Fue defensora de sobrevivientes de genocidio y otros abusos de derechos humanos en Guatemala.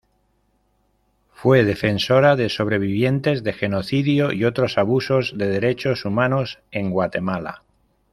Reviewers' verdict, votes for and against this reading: accepted, 2, 0